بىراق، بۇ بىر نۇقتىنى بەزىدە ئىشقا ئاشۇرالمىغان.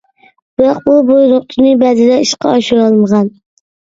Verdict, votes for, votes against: rejected, 0, 2